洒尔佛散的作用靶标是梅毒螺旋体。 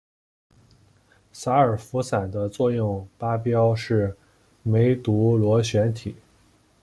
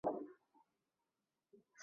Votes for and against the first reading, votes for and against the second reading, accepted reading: 2, 1, 0, 3, first